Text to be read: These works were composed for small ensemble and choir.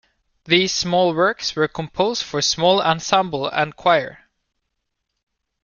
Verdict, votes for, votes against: rejected, 0, 2